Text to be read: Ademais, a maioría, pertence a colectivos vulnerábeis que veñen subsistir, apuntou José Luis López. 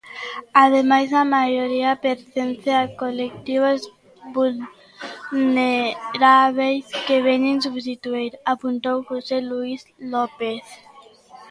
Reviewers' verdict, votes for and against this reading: rejected, 0, 2